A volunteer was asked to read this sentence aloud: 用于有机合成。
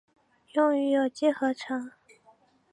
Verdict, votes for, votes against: accepted, 3, 0